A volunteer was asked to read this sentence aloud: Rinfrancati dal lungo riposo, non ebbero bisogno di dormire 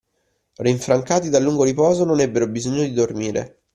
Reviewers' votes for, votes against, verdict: 2, 0, accepted